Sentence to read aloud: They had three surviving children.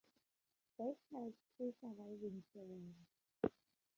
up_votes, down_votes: 0, 2